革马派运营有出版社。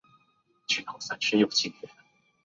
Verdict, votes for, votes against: rejected, 0, 2